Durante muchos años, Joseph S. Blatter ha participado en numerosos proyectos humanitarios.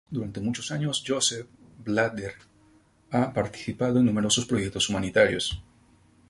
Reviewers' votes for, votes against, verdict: 0, 2, rejected